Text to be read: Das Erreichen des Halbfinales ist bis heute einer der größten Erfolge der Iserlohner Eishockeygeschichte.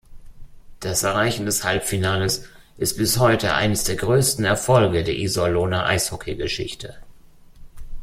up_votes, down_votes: 1, 2